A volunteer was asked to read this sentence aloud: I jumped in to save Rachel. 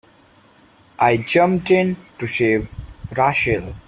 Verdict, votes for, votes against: accepted, 3, 0